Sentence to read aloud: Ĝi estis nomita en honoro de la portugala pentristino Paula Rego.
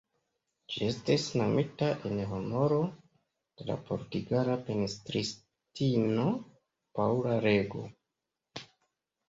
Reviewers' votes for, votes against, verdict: 0, 2, rejected